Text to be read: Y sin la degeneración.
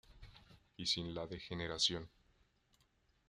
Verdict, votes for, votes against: accepted, 2, 0